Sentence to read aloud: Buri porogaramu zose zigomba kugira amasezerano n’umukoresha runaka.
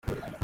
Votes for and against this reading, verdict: 0, 2, rejected